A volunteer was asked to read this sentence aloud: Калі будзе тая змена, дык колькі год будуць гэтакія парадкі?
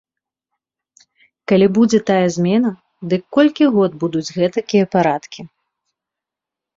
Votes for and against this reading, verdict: 3, 0, accepted